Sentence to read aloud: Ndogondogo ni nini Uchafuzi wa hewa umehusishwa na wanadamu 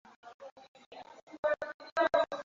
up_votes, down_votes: 0, 2